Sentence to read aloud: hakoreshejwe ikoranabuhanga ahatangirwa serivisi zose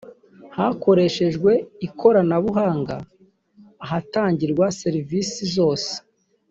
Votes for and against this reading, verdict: 2, 0, accepted